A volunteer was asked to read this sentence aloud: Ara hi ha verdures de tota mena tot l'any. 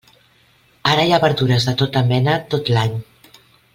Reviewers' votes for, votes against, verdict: 2, 0, accepted